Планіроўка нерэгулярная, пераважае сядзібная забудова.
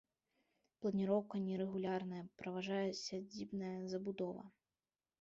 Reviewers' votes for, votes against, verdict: 1, 2, rejected